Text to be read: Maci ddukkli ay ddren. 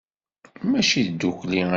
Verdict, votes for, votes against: rejected, 0, 2